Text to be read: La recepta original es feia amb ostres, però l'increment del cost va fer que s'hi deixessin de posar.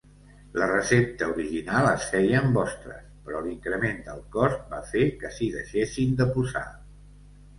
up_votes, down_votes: 2, 0